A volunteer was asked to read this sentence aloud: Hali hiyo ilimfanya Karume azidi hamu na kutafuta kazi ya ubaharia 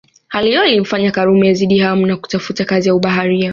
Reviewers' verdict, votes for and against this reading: rejected, 1, 2